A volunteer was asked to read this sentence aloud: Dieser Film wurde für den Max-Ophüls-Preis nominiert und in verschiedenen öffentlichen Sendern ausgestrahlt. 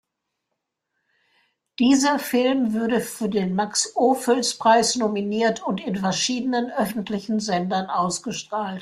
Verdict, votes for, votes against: rejected, 0, 2